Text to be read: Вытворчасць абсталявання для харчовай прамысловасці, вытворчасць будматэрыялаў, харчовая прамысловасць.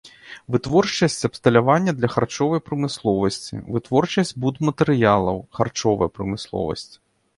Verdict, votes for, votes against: accepted, 2, 0